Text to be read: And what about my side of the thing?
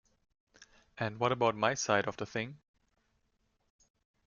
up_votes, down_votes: 2, 0